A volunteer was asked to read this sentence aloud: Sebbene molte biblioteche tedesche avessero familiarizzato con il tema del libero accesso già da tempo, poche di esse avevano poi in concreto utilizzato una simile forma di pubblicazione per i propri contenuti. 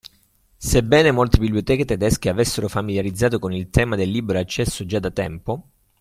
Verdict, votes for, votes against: rejected, 0, 2